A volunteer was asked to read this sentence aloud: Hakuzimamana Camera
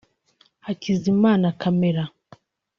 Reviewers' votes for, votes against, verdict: 0, 2, rejected